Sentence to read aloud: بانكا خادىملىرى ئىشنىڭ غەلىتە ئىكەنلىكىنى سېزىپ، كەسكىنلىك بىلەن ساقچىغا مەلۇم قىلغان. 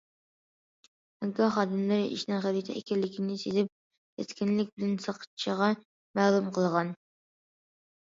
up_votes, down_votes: 2, 0